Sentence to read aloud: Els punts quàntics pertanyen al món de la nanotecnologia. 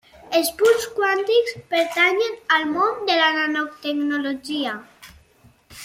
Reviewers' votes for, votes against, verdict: 3, 0, accepted